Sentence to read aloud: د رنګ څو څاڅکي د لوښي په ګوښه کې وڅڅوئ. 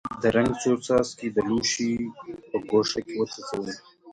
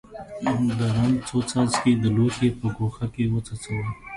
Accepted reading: second